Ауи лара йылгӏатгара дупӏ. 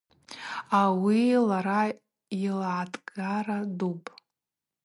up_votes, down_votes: 2, 0